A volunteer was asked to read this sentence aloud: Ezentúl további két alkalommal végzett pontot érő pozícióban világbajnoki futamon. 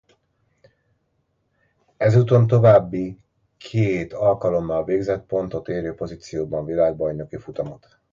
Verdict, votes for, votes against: rejected, 1, 2